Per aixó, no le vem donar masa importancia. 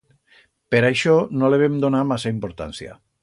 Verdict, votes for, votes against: accepted, 2, 0